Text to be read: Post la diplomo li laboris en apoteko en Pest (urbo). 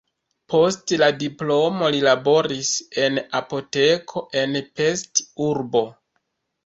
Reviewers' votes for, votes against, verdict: 1, 2, rejected